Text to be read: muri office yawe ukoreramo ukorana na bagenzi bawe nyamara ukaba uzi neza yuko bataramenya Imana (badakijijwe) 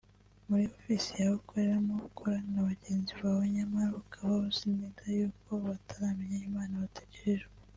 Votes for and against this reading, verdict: 1, 2, rejected